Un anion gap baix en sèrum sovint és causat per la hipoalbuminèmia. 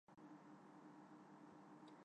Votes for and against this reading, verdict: 0, 2, rejected